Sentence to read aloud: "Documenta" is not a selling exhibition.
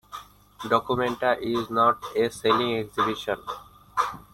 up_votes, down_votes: 2, 1